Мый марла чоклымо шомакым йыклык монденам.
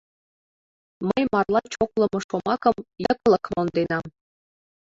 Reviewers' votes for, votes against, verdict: 2, 0, accepted